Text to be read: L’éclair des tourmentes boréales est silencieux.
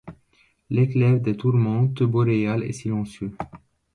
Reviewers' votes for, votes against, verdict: 2, 1, accepted